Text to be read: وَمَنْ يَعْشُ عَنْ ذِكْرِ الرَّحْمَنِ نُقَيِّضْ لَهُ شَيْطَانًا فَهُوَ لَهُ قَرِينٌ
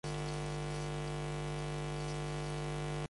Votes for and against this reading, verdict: 0, 2, rejected